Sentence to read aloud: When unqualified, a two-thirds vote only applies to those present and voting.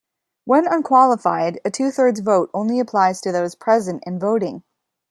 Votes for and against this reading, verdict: 2, 0, accepted